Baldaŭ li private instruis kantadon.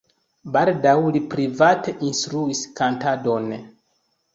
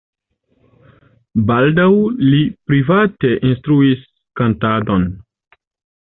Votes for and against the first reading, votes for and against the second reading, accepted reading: 1, 2, 2, 0, second